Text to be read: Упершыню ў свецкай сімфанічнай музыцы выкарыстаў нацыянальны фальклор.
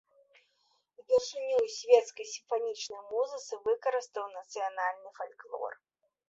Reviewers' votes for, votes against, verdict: 2, 1, accepted